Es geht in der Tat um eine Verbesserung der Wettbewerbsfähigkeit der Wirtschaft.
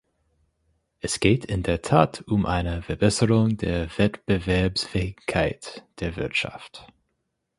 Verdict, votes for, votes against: accepted, 4, 0